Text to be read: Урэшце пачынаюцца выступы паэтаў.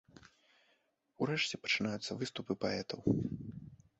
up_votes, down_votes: 2, 0